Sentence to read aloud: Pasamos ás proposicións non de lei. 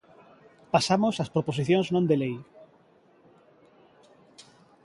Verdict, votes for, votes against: accepted, 2, 0